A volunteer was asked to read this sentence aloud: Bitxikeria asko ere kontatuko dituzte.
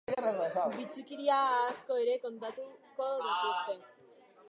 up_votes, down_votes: 0, 2